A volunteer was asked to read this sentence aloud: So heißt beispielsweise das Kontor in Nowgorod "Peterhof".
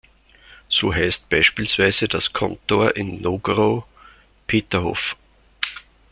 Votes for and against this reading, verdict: 1, 2, rejected